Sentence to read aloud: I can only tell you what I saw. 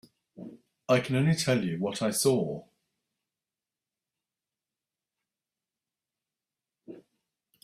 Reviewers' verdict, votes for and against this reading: rejected, 1, 2